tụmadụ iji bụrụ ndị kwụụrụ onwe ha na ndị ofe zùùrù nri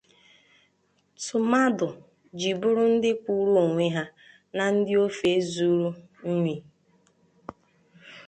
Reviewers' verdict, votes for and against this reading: rejected, 0, 2